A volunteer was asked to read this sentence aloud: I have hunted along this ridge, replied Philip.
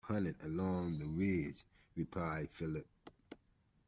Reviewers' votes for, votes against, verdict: 1, 2, rejected